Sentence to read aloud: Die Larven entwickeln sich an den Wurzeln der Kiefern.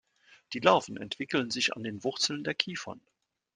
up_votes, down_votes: 3, 0